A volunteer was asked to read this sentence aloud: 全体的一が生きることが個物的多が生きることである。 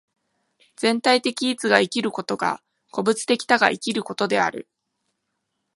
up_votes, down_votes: 2, 0